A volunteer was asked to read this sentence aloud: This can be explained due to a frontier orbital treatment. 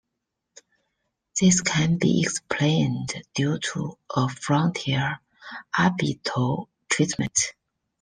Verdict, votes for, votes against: rejected, 1, 2